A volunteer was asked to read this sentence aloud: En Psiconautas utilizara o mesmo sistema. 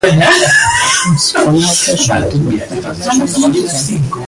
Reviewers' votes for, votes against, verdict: 0, 2, rejected